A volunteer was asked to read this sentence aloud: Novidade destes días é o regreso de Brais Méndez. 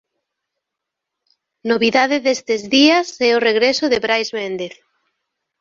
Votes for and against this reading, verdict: 1, 2, rejected